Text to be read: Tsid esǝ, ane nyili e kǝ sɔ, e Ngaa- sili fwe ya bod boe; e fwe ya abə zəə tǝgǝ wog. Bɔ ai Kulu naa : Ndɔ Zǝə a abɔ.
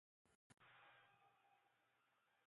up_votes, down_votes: 0, 2